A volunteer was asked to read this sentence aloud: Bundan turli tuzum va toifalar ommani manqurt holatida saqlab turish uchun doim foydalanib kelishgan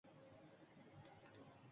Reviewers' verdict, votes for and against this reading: rejected, 1, 2